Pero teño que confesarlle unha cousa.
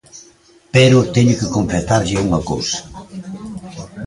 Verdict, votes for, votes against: rejected, 0, 3